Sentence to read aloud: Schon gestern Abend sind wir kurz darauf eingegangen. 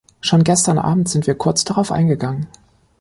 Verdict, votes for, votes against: accepted, 2, 0